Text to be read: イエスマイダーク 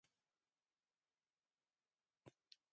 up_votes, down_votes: 1, 3